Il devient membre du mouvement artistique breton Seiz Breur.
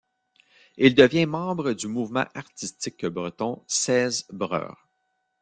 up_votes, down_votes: 2, 0